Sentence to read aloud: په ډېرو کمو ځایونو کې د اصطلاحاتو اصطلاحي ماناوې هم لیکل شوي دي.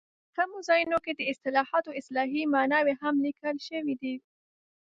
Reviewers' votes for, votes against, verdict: 1, 2, rejected